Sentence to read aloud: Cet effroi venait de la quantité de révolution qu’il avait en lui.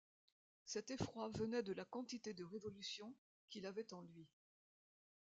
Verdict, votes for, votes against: rejected, 1, 2